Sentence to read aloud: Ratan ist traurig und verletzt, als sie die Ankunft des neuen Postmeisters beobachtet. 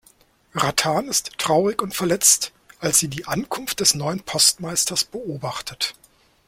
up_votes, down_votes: 2, 0